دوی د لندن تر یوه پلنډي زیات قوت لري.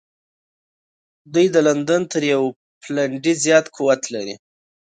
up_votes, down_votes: 1, 2